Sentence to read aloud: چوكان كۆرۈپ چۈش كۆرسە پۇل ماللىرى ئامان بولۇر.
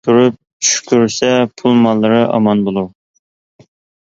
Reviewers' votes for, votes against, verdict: 0, 2, rejected